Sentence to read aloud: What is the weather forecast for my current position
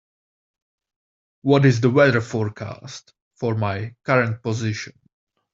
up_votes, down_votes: 2, 0